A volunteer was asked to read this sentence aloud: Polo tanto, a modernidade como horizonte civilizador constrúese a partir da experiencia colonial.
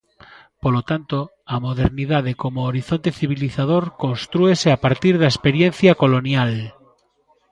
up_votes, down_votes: 2, 0